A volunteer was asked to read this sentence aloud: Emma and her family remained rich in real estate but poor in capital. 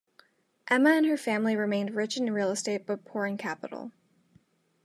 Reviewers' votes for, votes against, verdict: 2, 0, accepted